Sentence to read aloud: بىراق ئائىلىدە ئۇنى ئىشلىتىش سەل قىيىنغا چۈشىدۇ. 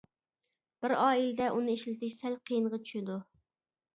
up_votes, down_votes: 0, 2